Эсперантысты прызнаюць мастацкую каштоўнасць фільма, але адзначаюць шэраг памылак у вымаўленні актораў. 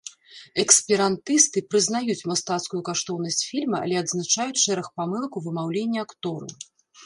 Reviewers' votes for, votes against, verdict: 0, 2, rejected